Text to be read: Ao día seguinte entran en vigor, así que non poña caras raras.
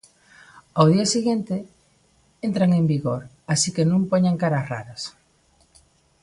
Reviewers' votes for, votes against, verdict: 0, 2, rejected